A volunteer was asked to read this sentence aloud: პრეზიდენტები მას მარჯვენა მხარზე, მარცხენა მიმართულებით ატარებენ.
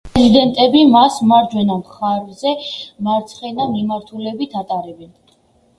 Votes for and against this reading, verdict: 1, 2, rejected